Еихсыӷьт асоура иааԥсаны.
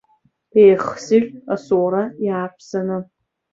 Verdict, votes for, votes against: accepted, 3, 1